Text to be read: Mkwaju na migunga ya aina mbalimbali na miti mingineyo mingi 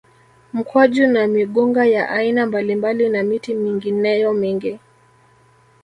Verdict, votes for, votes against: rejected, 1, 2